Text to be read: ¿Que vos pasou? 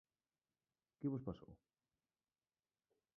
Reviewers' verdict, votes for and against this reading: rejected, 0, 2